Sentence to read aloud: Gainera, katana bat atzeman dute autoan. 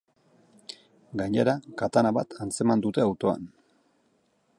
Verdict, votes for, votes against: rejected, 0, 4